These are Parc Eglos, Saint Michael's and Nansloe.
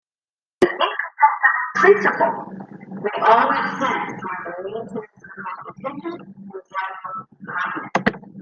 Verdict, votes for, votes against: rejected, 0, 2